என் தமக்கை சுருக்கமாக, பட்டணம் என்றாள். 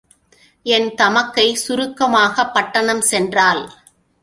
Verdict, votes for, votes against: rejected, 0, 2